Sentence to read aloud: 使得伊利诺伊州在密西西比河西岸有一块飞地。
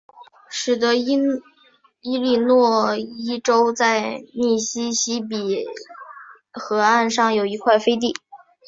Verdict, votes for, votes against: rejected, 0, 2